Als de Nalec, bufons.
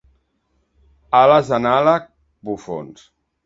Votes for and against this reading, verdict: 1, 2, rejected